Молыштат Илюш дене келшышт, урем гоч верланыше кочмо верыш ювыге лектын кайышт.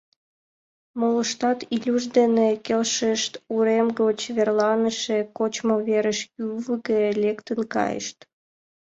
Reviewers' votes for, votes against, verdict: 2, 0, accepted